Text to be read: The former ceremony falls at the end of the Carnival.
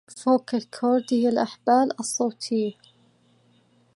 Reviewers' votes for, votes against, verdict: 0, 2, rejected